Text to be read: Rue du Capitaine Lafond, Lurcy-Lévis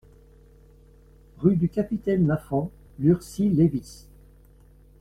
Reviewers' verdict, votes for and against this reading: accepted, 2, 0